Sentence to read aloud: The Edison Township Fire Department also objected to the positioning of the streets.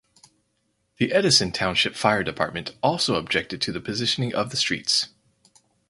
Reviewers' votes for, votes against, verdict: 4, 0, accepted